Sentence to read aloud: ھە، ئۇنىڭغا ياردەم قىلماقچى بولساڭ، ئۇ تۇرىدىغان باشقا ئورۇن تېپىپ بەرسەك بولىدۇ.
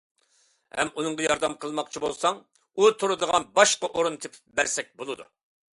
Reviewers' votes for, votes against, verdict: 2, 0, accepted